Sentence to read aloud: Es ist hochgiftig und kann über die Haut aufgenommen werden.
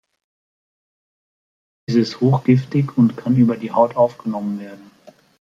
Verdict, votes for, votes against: accepted, 2, 0